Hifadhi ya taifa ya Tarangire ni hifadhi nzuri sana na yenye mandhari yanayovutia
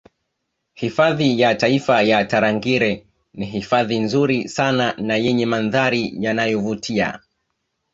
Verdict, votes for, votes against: accepted, 2, 1